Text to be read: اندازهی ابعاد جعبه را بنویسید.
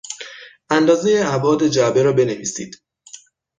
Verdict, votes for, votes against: accepted, 6, 0